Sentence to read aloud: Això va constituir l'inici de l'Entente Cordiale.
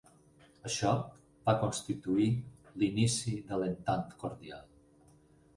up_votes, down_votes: 2, 4